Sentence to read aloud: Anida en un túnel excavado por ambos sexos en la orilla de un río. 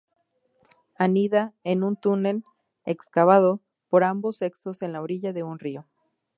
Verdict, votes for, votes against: rejected, 2, 2